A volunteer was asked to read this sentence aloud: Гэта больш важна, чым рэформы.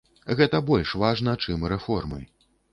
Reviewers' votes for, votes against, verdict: 2, 0, accepted